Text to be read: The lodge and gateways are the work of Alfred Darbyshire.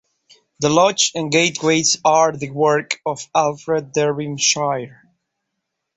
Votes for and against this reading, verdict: 2, 0, accepted